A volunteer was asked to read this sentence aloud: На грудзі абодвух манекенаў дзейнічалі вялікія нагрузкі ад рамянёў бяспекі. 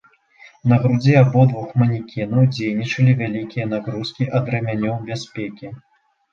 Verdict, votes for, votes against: rejected, 1, 3